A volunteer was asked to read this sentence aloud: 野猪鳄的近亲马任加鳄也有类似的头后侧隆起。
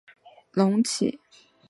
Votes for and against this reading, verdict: 0, 2, rejected